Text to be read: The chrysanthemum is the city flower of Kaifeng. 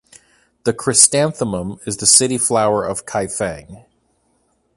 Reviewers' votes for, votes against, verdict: 1, 2, rejected